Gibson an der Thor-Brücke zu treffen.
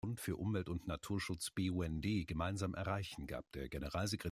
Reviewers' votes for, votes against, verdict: 0, 2, rejected